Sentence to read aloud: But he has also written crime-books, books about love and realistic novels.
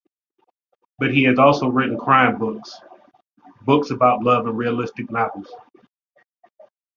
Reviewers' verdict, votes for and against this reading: accepted, 2, 0